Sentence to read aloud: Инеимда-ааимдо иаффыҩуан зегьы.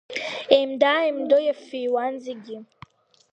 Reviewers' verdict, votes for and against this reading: accepted, 2, 1